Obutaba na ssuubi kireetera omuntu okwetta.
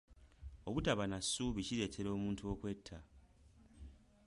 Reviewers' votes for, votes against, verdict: 2, 0, accepted